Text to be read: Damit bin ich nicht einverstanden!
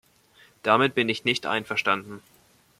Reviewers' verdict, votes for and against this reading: accepted, 2, 0